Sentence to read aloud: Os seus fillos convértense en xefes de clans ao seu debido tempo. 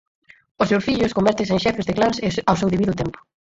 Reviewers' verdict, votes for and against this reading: rejected, 2, 4